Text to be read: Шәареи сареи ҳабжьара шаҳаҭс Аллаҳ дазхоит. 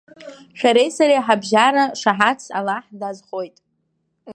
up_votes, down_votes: 1, 2